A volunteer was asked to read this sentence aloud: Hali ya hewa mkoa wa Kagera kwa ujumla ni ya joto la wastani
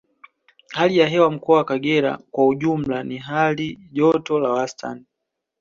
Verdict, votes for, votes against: accepted, 2, 0